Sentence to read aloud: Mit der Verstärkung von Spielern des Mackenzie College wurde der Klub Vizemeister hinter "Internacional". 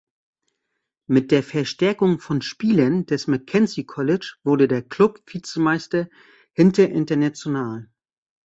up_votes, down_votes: 0, 2